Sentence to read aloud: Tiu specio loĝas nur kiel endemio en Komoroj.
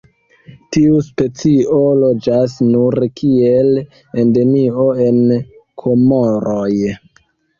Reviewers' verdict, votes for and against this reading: rejected, 1, 2